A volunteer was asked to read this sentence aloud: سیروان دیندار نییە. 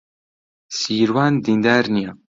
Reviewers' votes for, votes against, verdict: 2, 0, accepted